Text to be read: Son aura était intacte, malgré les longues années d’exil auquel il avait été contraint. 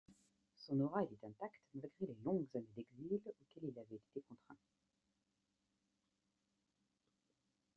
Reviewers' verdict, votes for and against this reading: accepted, 2, 0